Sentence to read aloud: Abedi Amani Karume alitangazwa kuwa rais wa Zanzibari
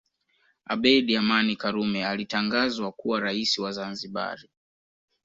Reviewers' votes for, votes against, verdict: 2, 0, accepted